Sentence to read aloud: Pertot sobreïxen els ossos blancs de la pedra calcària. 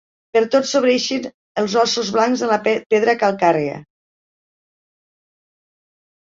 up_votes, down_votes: 0, 2